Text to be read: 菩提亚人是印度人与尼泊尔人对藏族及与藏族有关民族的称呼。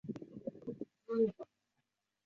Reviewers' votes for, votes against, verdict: 1, 3, rejected